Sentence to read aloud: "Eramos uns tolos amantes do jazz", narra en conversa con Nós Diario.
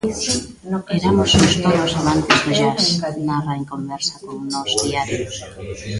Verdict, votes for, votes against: rejected, 0, 2